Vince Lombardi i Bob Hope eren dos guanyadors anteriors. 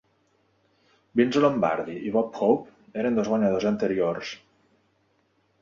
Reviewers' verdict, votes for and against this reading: accepted, 2, 0